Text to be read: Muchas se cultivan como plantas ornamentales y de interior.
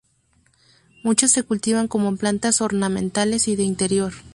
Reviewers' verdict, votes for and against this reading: accepted, 2, 0